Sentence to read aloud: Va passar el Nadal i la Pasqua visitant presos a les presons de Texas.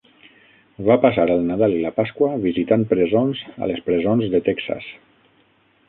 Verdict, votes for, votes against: rejected, 0, 6